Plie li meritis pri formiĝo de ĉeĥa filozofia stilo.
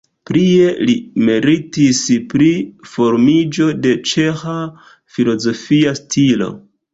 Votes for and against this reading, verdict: 1, 2, rejected